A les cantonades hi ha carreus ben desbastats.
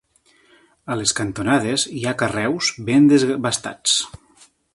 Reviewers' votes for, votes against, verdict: 1, 2, rejected